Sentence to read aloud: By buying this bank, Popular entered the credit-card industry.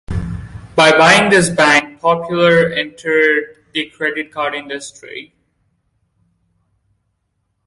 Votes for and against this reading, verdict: 0, 2, rejected